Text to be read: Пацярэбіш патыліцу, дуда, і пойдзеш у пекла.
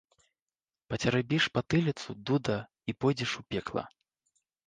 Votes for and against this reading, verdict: 1, 2, rejected